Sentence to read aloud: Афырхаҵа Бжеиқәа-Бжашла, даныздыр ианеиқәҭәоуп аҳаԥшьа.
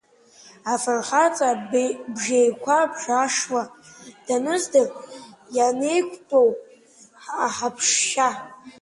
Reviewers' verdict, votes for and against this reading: rejected, 1, 3